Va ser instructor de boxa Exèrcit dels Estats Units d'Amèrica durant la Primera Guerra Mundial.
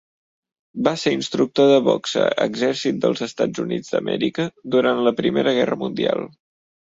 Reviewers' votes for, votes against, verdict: 3, 0, accepted